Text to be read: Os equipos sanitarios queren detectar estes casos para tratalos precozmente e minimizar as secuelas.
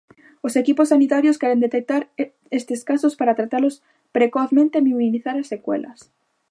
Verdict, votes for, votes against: rejected, 0, 2